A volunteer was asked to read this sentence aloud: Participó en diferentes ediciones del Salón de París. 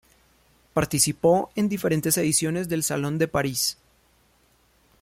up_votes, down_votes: 2, 0